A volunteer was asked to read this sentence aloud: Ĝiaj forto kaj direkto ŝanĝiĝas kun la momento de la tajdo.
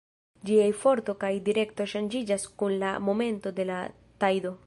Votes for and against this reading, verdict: 1, 2, rejected